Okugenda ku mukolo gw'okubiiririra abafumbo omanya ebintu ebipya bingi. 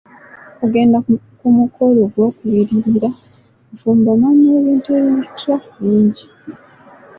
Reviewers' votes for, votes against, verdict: 1, 2, rejected